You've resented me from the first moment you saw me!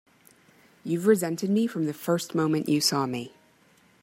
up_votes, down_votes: 2, 1